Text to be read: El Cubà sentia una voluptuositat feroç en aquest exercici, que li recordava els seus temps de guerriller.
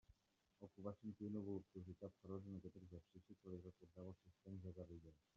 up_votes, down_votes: 0, 2